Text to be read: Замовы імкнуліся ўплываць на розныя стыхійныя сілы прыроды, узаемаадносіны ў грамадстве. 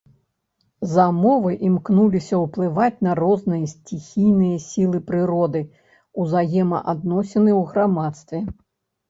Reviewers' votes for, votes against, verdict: 0, 2, rejected